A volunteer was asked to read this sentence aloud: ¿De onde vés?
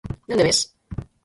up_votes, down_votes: 0, 4